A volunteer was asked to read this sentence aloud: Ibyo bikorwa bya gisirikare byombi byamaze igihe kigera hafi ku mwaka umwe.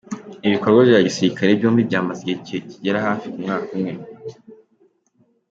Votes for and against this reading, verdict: 2, 1, accepted